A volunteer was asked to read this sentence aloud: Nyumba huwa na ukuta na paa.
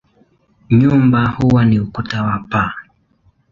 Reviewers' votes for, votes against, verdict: 0, 2, rejected